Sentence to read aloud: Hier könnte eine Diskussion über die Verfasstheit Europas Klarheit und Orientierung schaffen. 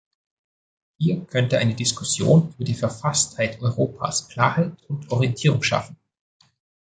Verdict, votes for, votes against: accepted, 2, 0